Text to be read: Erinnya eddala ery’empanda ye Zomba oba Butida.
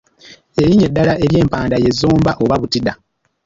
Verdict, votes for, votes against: rejected, 1, 2